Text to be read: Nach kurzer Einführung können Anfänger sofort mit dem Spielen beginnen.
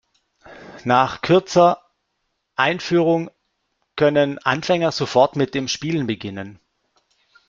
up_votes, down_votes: 0, 2